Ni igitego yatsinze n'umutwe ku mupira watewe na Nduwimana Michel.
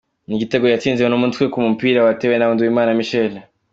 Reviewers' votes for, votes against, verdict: 2, 1, accepted